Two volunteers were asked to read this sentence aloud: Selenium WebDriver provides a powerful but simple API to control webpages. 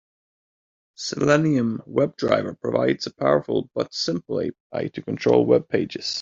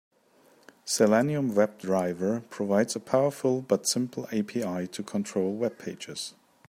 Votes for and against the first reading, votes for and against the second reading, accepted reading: 0, 2, 2, 0, second